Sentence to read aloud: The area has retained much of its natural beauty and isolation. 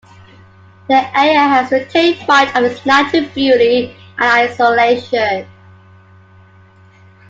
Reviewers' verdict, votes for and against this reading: rejected, 1, 2